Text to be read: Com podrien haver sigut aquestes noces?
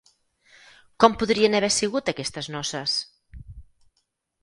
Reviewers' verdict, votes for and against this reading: accepted, 4, 0